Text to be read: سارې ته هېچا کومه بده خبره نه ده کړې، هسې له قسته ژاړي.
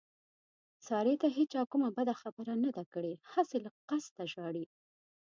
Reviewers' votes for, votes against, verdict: 2, 0, accepted